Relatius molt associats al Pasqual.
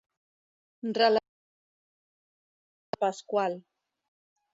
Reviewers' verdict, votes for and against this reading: rejected, 0, 2